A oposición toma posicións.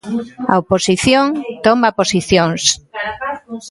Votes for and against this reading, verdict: 2, 1, accepted